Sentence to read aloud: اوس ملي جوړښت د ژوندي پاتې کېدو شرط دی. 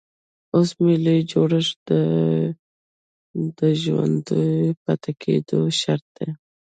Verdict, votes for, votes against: accepted, 2, 0